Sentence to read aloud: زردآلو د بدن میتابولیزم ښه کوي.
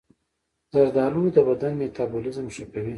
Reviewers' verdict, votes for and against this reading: accepted, 2, 0